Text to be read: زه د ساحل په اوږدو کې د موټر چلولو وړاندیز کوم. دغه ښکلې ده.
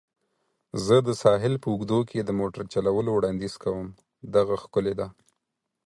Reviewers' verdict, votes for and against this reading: accepted, 4, 0